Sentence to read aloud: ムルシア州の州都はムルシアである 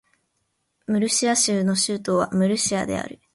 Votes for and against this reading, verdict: 3, 0, accepted